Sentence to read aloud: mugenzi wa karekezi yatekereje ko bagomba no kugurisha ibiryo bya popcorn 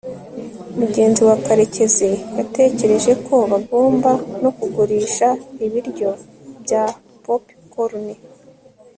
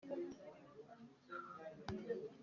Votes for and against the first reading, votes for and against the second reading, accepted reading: 4, 1, 1, 2, first